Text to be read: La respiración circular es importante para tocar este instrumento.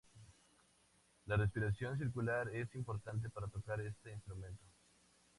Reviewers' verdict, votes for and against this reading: accepted, 2, 0